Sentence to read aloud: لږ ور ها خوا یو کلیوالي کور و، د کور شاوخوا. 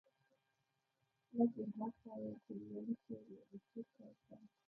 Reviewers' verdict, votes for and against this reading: rejected, 0, 2